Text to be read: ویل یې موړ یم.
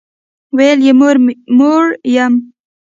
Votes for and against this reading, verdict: 0, 2, rejected